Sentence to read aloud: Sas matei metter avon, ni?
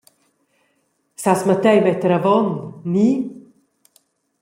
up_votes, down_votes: 2, 0